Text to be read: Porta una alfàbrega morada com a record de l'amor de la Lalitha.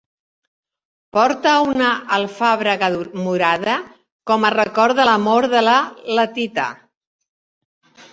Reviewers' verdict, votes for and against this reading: rejected, 1, 2